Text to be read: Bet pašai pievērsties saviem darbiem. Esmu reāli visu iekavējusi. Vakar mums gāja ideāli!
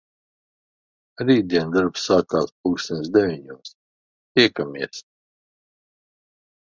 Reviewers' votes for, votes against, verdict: 0, 2, rejected